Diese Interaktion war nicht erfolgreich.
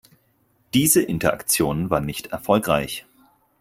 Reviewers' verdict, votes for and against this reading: accepted, 4, 0